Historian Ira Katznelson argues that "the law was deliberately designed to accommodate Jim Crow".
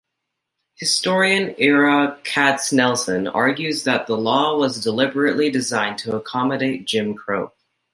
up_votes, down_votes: 2, 0